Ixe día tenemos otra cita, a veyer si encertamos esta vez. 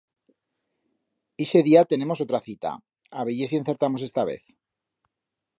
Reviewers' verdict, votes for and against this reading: accepted, 2, 0